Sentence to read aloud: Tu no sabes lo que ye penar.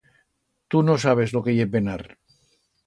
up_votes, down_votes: 2, 0